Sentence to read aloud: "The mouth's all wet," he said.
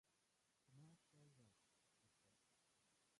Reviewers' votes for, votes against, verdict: 0, 2, rejected